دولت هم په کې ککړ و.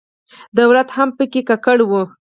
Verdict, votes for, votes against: accepted, 4, 0